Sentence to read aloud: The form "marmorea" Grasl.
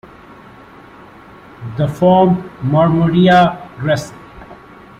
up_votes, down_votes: 2, 0